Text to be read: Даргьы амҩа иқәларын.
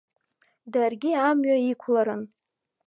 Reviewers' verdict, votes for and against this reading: accepted, 2, 0